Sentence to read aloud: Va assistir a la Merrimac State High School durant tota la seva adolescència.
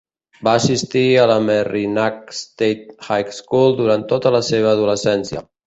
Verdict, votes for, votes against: accepted, 2, 0